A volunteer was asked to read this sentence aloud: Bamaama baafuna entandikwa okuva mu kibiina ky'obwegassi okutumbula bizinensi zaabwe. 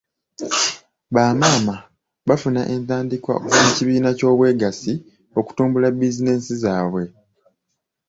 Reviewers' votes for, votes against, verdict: 2, 1, accepted